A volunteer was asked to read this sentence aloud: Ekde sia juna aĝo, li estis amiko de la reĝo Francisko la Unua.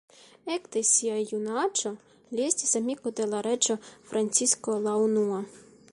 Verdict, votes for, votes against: rejected, 1, 2